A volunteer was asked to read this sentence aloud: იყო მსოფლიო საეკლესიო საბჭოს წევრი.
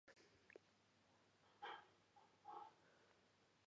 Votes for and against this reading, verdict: 0, 2, rejected